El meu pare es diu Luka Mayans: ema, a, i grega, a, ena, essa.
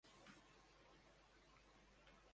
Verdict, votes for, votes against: rejected, 0, 2